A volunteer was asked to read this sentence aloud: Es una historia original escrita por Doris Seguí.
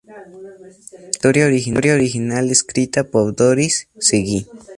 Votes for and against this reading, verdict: 2, 0, accepted